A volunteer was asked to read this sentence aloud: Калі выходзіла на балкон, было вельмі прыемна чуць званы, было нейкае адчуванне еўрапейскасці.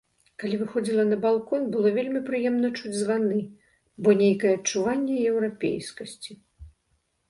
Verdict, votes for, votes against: accepted, 2, 0